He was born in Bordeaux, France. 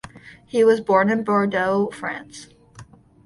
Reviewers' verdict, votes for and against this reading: accepted, 2, 0